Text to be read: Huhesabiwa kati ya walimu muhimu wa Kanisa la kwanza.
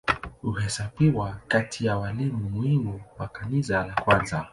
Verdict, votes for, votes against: accepted, 2, 0